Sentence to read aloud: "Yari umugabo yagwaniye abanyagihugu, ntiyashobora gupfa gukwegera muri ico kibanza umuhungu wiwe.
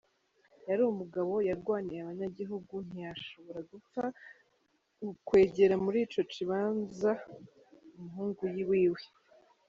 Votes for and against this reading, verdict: 0, 2, rejected